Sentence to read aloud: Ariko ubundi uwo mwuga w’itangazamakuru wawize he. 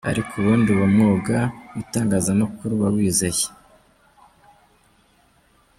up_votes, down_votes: 0, 2